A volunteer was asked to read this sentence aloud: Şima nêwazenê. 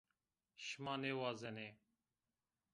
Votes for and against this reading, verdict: 2, 1, accepted